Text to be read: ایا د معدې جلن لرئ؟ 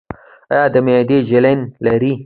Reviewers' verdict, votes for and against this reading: accepted, 2, 0